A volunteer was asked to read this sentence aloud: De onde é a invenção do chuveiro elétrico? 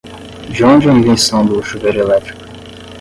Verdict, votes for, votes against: rejected, 5, 5